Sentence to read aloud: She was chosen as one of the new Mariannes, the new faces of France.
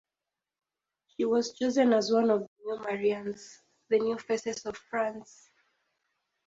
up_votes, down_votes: 0, 4